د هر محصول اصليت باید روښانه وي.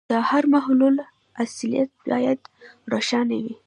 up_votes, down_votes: 2, 0